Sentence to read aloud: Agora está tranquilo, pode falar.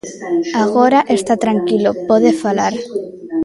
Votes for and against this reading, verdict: 1, 2, rejected